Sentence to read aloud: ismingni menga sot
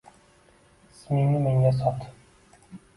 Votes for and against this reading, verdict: 1, 2, rejected